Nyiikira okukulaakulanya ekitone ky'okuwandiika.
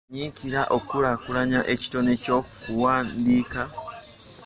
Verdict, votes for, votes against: rejected, 0, 2